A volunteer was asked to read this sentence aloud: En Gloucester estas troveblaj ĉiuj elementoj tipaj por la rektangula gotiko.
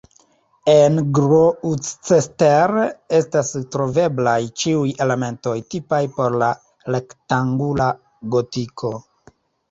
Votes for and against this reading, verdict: 1, 2, rejected